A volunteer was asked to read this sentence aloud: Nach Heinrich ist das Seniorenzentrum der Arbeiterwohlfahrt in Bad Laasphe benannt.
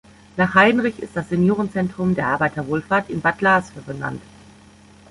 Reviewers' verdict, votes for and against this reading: rejected, 0, 2